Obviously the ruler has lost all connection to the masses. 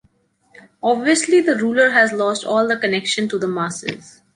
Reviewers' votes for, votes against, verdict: 1, 2, rejected